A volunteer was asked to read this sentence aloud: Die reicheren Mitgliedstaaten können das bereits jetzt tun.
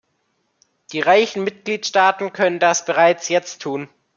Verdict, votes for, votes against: rejected, 0, 2